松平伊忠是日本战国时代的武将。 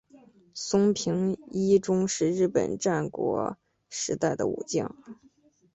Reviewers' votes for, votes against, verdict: 2, 0, accepted